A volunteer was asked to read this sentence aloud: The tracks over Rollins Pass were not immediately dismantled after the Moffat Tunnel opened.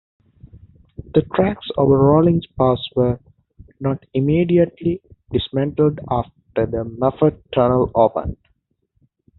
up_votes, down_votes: 2, 0